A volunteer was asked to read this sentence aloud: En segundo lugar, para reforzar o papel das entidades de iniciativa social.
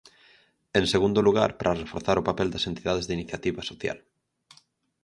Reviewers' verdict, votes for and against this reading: accepted, 6, 0